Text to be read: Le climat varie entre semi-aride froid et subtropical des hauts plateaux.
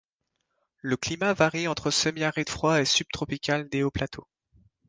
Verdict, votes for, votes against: rejected, 0, 2